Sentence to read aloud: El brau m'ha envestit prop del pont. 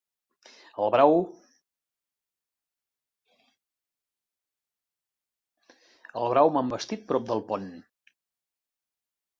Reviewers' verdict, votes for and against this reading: rejected, 0, 3